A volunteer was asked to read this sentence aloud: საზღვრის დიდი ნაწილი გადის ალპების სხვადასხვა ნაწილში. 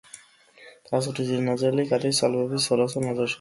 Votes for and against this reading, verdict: 0, 2, rejected